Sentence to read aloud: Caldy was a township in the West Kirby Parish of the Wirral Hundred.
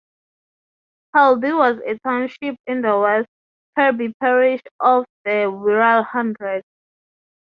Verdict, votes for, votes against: rejected, 3, 3